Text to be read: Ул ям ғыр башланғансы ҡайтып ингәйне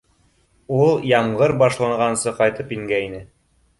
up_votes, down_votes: 2, 0